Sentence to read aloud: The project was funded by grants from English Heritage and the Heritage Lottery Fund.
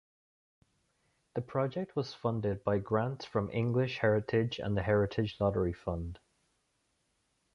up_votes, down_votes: 2, 0